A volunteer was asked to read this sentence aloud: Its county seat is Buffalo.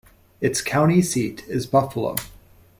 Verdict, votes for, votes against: accepted, 2, 0